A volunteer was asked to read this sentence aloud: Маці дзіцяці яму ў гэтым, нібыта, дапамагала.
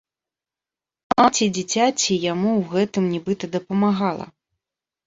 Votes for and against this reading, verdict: 0, 2, rejected